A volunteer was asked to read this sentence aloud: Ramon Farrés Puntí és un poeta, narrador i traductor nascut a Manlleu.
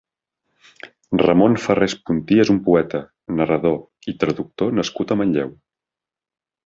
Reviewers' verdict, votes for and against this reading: accepted, 3, 0